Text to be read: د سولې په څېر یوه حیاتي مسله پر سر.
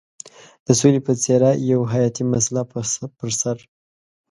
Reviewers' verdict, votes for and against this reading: rejected, 1, 2